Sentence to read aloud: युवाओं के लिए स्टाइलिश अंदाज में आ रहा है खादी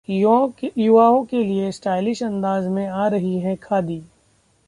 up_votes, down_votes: 1, 2